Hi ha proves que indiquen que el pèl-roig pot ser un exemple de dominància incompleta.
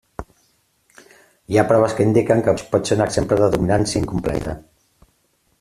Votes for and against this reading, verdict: 0, 2, rejected